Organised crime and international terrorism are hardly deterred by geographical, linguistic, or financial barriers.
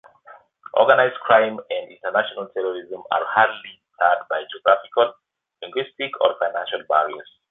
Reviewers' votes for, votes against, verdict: 1, 2, rejected